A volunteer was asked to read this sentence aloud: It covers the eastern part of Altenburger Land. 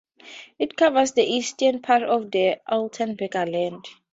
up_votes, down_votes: 0, 2